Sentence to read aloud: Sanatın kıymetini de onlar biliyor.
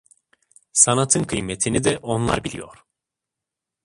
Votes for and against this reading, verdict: 1, 2, rejected